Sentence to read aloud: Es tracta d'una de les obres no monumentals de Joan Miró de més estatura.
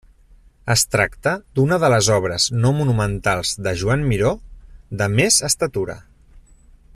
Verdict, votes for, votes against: accepted, 3, 0